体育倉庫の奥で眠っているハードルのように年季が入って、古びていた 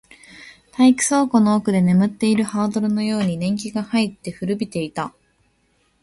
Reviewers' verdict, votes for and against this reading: rejected, 1, 2